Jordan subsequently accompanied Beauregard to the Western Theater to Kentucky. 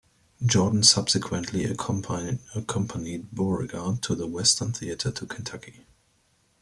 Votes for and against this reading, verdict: 2, 0, accepted